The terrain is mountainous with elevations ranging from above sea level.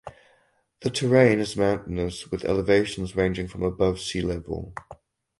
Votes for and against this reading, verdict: 2, 2, rejected